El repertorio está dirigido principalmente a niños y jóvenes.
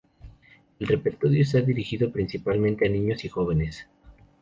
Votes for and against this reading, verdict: 0, 2, rejected